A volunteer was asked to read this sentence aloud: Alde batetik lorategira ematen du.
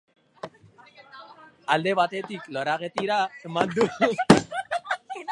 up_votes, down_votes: 0, 4